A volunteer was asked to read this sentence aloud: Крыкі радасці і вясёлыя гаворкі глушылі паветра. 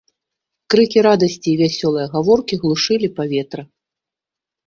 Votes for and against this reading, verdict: 2, 0, accepted